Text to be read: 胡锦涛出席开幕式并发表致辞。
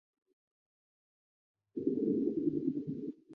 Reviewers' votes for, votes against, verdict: 3, 3, rejected